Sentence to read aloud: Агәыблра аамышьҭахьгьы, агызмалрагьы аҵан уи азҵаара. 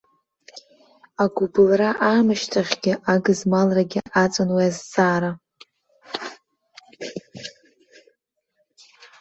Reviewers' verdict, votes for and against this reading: rejected, 0, 2